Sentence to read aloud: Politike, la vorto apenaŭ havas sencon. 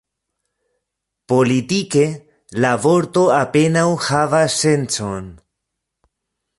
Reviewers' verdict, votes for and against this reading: rejected, 0, 2